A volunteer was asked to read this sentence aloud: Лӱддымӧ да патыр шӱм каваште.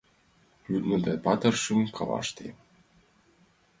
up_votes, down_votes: 1, 3